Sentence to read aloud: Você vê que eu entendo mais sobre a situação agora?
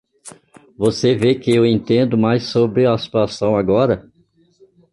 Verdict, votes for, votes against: accepted, 2, 1